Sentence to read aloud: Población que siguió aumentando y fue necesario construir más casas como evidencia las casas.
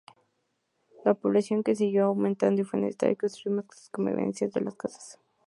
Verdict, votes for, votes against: rejected, 2, 2